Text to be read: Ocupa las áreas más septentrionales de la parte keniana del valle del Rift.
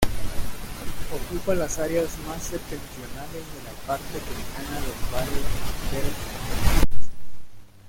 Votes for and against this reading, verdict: 0, 2, rejected